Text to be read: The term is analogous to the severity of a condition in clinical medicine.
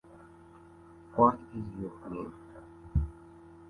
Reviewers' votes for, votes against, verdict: 0, 2, rejected